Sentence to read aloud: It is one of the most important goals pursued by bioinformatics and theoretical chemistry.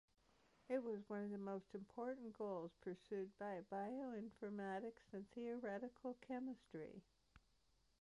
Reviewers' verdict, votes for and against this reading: rejected, 1, 2